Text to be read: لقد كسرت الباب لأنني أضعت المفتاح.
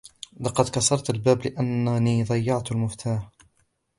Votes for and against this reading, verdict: 1, 2, rejected